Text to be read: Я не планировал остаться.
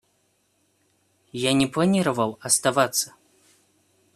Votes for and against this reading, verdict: 0, 2, rejected